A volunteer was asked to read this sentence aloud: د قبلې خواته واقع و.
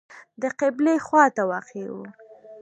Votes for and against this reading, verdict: 2, 0, accepted